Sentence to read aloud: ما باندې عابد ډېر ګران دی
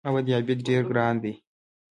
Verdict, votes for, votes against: rejected, 0, 2